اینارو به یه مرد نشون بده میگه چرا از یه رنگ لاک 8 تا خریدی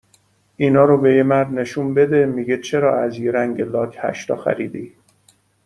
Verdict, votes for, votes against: rejected, 0, 2